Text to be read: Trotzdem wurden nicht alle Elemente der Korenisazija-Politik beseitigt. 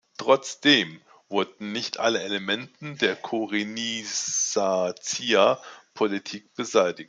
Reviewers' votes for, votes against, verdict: 0, 2, rejected